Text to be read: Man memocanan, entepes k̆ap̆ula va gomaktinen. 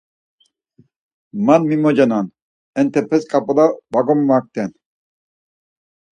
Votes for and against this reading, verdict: 2, 4, rejected